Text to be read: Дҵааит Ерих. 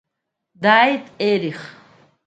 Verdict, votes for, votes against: accepted, 2, 1